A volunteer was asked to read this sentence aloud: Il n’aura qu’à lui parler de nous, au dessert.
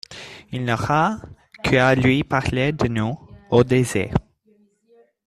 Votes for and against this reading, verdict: 1, 2, rejected